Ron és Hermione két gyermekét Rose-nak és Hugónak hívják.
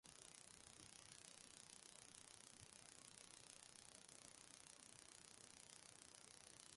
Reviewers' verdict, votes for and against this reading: rejected, 0, 2